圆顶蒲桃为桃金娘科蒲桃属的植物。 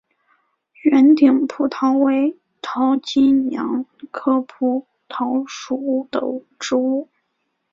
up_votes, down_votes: 2, 0